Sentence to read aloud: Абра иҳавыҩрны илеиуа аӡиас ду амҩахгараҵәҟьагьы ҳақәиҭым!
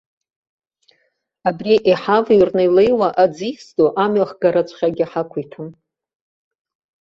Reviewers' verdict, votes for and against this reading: accepted, 3, 2